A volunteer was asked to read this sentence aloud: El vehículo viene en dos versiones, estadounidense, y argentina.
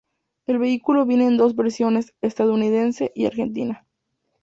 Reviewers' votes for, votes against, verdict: 2, 0, accepted